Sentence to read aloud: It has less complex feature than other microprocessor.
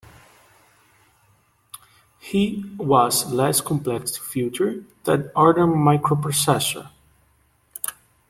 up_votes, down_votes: 1, 2